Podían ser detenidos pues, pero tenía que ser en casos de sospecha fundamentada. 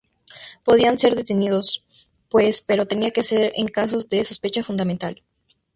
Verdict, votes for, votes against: rejected, 4, 4